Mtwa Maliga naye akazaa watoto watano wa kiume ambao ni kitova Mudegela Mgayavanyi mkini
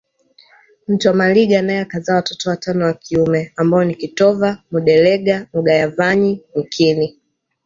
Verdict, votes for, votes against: accepted, 2, 0